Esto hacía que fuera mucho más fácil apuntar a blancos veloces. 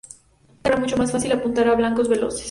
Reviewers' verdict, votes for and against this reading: rejected, 0, 2